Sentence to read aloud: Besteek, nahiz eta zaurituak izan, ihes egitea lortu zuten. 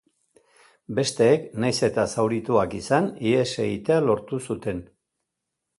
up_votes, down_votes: 2, 0